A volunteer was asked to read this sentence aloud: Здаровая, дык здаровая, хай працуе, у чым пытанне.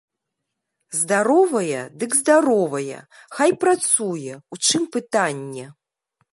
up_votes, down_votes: 2, 0